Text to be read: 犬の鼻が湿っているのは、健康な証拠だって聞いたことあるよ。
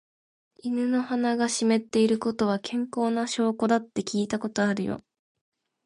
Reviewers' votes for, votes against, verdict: 2, 0, accepted